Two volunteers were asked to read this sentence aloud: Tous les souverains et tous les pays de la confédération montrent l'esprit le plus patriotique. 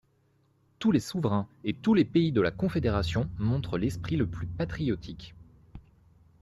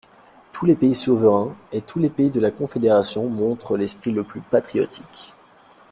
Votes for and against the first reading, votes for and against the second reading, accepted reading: 2, 0, 1, 2, first